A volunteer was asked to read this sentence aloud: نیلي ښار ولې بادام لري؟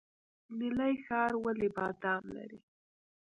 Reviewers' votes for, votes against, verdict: 1, 2, rejected